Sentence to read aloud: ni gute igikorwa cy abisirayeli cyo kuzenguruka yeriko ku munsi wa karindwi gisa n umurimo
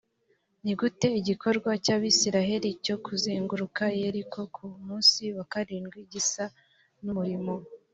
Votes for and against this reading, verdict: 2, 0, accepted